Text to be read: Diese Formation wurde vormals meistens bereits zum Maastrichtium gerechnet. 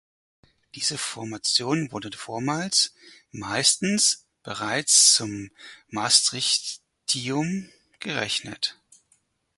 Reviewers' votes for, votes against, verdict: 2, 4, rejected